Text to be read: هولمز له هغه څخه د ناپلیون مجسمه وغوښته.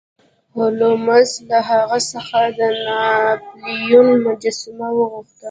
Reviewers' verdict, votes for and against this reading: accepted, 2, 1